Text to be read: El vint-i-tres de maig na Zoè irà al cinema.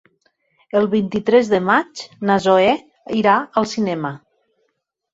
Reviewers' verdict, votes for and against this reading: accepted, 6, 0